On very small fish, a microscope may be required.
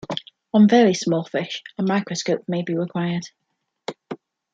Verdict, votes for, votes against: accepted, 2, 0